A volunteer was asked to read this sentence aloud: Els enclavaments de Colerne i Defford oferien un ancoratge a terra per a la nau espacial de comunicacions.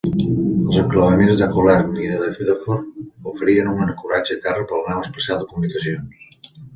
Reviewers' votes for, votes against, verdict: 1, 2, rejected